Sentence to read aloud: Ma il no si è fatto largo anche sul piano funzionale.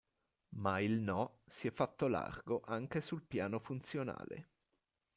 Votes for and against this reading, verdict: 0, 2, rejected